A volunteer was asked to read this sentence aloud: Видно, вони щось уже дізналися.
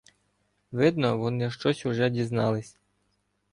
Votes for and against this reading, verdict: 1, 2, rejected